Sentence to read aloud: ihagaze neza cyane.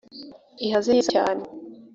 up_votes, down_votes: 0, 2